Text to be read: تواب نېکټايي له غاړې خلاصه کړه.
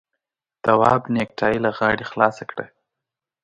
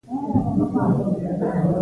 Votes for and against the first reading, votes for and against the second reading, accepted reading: 3, 0, 0, 2, first